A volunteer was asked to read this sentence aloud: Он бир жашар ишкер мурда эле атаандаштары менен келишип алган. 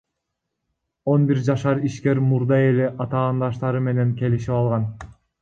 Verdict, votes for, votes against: rejected, 1, 2